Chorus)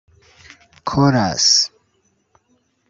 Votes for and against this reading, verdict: 1, 2, rejected